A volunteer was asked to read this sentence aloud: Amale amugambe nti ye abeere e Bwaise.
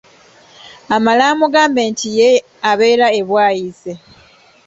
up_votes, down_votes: 1, 2